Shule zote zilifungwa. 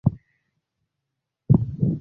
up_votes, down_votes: 0, 3